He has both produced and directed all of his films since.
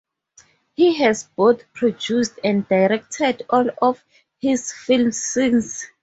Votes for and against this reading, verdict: 4, 2, accepted